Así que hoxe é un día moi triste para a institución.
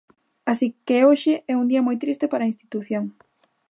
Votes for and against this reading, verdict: 2, 0, accepted